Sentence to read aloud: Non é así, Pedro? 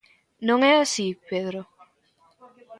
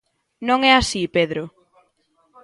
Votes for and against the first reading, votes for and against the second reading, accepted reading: 2, 1, 0, 2, first